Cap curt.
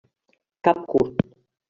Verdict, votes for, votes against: rejected, 0, 2